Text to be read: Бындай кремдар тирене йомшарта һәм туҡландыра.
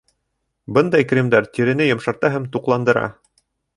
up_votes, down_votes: 3, 0